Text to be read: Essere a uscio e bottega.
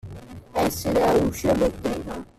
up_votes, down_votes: 1, 2